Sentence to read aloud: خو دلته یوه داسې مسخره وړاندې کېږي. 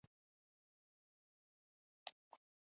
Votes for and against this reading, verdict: 1, 2, rejected